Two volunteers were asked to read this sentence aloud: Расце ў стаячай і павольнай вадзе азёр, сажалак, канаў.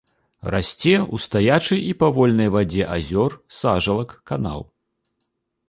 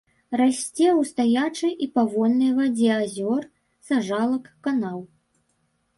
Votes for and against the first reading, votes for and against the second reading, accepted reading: 2, 0, 1, 3, first